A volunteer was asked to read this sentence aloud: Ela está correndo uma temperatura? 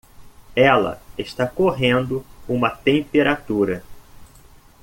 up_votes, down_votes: 2, 0